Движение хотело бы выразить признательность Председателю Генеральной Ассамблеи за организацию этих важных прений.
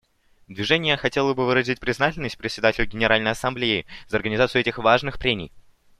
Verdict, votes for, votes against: accepted, 2, 0